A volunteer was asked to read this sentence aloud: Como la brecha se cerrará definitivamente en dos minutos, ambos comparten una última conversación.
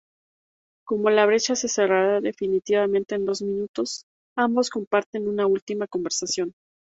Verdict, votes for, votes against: accepted, 2, 0